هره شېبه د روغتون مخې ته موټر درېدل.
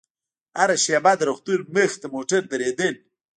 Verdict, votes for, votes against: rejected, 0, 2